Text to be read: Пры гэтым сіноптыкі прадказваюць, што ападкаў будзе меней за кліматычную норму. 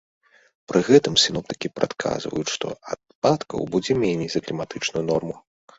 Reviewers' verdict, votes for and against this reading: accepted, 2, 0